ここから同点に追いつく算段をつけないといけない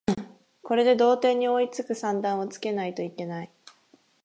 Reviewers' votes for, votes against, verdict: 6, 12, rejected